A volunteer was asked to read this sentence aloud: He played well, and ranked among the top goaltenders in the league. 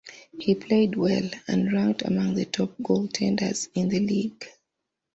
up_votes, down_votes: 2, 0